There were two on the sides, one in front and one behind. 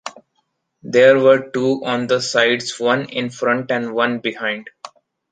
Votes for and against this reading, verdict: 2, 0, accepted